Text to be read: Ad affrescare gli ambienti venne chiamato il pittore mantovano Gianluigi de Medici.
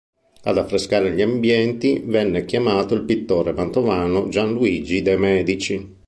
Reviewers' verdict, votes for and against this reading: accepted, 2, 0